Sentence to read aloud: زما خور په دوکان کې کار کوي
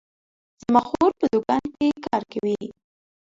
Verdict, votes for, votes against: accepted, 2, 0